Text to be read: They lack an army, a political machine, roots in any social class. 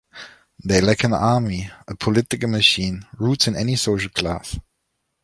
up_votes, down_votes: 2, 0